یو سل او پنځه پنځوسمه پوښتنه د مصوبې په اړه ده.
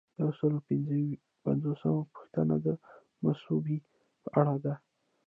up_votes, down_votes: 0, 2